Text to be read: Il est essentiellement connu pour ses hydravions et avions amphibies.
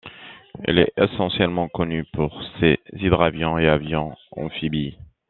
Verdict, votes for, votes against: rejected, 0, 2